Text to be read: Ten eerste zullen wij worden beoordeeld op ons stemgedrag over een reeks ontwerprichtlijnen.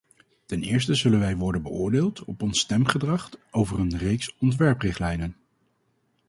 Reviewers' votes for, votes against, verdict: 0, 4, rejected